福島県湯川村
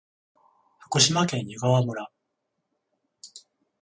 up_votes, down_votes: 21, 7